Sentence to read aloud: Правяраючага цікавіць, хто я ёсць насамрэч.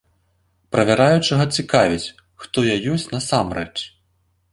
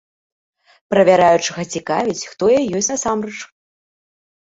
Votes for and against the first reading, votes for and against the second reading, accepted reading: 2, 0, 1, 2, first